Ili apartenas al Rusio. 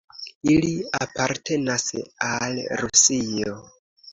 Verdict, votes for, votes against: accepted, 2, 1